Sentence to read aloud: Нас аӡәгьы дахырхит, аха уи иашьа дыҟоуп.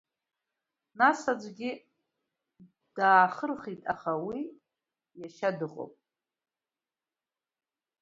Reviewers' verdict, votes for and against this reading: rejected, 0, 2